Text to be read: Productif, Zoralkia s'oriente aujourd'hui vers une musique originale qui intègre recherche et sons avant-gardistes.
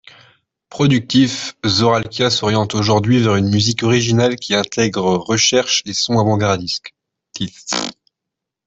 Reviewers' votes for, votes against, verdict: 0, 2, rejected